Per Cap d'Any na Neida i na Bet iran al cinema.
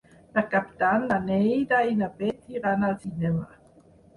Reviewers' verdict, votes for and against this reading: accepted, 6, 0